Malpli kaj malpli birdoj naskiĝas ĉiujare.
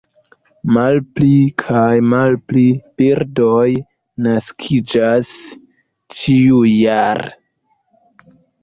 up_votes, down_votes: 2, 1